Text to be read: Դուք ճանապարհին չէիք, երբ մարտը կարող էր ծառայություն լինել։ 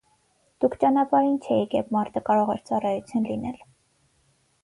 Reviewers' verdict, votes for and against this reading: accepted, 6, 0